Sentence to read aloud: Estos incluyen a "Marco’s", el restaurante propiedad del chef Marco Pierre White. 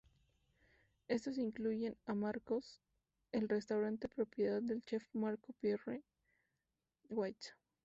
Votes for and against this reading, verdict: 4, 0, accepted